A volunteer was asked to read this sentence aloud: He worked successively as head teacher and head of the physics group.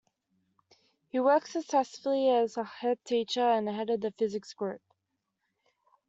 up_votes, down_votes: 2, 1